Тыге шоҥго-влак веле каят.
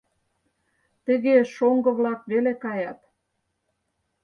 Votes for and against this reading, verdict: 4, 0, accepted